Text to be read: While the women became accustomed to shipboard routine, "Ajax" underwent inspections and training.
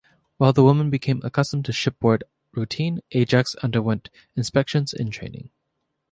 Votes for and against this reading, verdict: 2, 0, accepted